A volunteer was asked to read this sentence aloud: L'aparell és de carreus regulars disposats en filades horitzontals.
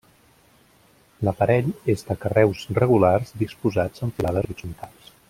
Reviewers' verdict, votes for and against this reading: rejected, 0, 2